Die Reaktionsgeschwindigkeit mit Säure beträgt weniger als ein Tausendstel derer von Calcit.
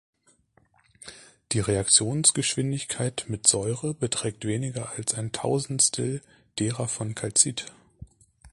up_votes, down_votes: 2, 0